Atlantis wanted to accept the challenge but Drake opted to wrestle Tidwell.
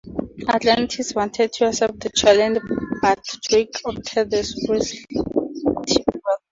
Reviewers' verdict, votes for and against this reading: rejected, 0, 4